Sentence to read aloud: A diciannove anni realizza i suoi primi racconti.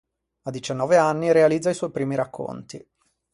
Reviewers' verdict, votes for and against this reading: accepted, 2, 0